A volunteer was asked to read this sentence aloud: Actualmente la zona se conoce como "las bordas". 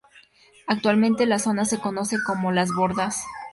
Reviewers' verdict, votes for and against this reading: accepted, 2, 0